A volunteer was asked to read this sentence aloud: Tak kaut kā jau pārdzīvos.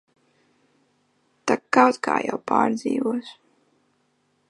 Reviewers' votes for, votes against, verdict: 2, 0, accepted